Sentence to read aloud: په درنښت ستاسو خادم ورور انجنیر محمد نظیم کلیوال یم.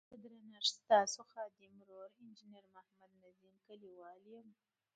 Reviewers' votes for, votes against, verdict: 1, 2, rejected